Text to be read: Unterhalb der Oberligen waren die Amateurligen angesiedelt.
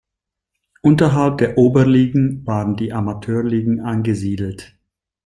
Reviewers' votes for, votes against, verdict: 2, 0, accepted